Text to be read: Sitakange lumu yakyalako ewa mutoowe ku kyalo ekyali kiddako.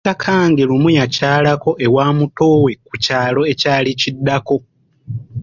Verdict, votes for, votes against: rejected, 0, 2